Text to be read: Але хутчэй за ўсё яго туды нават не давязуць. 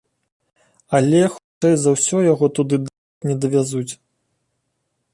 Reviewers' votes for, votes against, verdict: 1, 2, rejected